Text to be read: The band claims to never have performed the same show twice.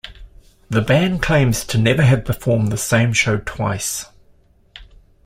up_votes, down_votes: 2, 0